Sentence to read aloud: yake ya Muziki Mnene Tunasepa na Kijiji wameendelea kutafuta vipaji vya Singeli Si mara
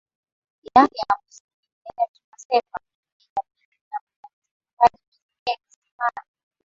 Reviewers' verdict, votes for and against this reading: rejected, 1, 2